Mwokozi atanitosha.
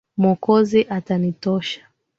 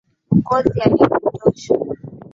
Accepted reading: first